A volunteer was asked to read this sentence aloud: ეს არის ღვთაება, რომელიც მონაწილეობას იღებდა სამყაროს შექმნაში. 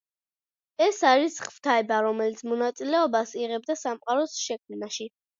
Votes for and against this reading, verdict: 2, 0, accepted